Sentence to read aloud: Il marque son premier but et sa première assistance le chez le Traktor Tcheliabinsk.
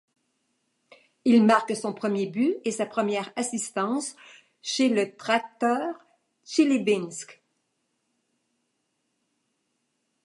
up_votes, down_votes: 1, 2